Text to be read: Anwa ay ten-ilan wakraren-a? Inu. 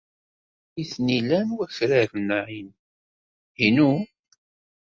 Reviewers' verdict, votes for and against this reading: rejected, 1, 2